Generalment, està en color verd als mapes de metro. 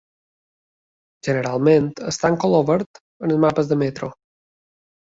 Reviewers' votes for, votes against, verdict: 2, 0, accepted